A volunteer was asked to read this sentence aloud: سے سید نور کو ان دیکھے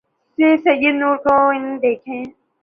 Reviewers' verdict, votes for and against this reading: accepted, 2, 0